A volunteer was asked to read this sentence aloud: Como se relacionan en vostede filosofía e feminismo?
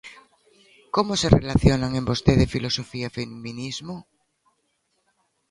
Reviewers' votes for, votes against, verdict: 0, 2, rejected